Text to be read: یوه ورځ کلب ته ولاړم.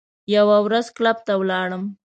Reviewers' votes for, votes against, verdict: 2, 0, accepted